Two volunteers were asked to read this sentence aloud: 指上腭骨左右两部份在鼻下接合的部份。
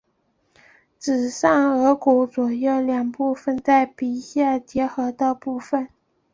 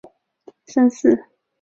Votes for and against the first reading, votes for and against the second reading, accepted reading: 4, 0, 0, 2, first